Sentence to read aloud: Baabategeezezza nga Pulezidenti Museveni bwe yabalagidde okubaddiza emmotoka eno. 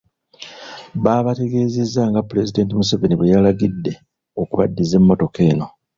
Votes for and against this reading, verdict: 2, 0, accepted